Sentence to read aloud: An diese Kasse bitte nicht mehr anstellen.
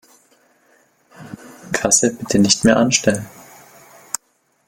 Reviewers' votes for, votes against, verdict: 0, 2, rejected